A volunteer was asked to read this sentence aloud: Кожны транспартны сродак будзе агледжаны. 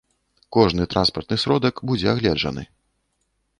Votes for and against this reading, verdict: 2, 0, accepted